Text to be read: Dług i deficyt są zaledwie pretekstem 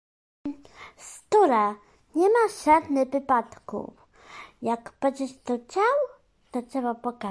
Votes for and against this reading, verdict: 0, 2, rejected